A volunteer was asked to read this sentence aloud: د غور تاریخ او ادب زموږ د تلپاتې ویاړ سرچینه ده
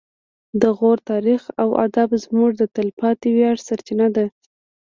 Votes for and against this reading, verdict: 2, 0, accepted